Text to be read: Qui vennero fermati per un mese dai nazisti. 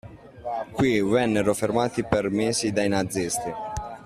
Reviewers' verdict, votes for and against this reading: rejected, 0, 2